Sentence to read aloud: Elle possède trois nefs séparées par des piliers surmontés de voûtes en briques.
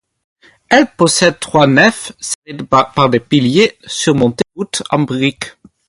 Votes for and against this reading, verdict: 4, 2, accepted